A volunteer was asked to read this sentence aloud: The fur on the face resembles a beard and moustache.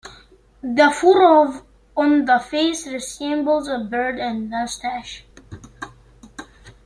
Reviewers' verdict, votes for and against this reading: rejected, 1, 2